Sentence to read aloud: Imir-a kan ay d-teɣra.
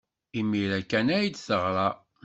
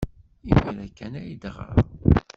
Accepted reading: first